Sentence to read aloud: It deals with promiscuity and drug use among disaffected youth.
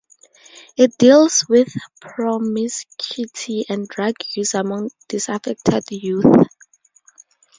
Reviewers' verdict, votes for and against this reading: accepted, 4, 0